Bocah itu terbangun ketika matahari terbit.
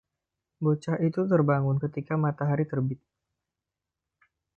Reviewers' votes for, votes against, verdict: 2, 0, accepted